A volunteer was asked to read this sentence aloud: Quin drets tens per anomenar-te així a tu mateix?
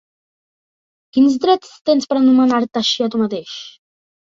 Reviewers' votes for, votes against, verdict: 2, 0, accepted